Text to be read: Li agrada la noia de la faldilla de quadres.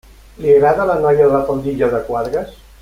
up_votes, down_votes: 1, 2